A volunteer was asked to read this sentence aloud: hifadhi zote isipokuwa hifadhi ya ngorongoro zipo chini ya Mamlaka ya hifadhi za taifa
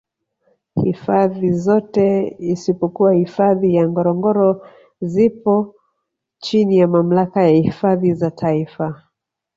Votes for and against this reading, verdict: 3, 0, accepted